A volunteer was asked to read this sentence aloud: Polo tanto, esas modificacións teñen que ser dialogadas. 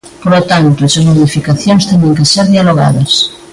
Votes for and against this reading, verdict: 2, 0, accepted